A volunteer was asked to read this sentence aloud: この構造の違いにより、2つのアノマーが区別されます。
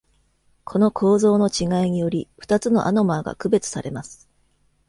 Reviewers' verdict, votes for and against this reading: rejected, 0, 2